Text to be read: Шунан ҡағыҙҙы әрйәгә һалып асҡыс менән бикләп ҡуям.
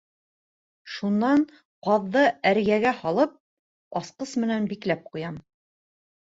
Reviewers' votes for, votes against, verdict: 0, 2, rejected